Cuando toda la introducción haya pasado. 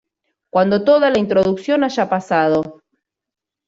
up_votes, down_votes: 1, 2